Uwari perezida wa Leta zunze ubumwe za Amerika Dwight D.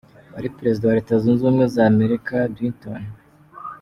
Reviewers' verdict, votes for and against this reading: rejected, 1, 2